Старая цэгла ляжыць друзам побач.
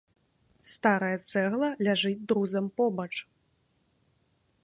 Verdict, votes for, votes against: rejected, 1, 2